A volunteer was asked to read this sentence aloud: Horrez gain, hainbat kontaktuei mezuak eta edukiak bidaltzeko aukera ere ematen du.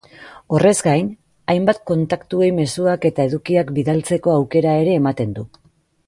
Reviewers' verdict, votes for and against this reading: accepted, 2, 0